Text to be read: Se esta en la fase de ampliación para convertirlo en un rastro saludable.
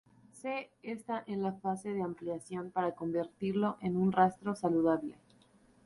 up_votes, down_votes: 0, 2